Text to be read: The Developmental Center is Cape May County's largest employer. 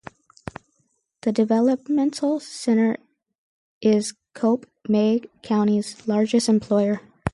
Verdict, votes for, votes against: rejected, 0, 4